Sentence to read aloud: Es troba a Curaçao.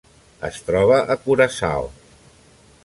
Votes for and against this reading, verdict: 2, 0, accepted